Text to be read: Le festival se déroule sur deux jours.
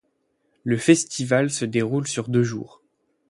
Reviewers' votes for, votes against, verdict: 8, 0, accepted